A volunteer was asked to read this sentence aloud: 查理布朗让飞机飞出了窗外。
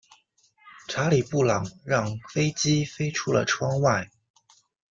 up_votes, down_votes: 2, 0